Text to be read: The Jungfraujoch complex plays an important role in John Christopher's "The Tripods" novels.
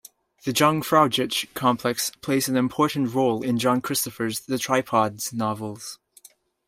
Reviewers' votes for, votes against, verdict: 2, 1, accepted